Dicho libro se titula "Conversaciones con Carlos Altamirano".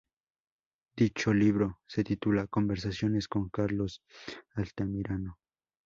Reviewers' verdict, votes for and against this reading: rejected, 0, 2